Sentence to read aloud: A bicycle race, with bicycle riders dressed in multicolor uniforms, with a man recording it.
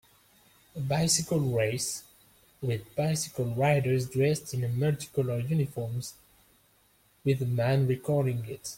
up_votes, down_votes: 2, 1